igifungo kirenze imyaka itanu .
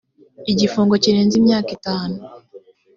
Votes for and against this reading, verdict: 2, 0, accepted